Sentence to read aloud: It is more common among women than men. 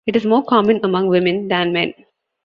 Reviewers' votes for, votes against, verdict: 2, 0, accepted